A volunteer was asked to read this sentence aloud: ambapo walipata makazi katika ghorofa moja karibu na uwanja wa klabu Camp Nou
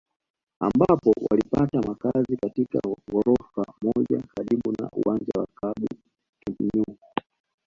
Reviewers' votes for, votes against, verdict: 2, 0, accepted